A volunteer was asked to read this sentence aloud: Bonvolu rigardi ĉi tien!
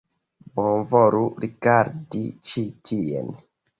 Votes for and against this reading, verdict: 2, 0, accepted